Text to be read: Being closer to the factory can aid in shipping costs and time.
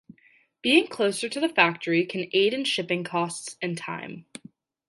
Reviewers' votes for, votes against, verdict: 2, 0, accepted